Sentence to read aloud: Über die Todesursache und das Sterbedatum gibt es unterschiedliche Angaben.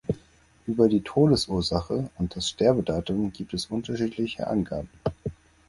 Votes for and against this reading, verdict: 4, 0, accepted